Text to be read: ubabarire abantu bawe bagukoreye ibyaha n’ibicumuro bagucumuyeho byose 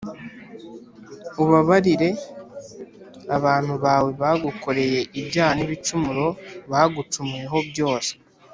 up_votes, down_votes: 2, 1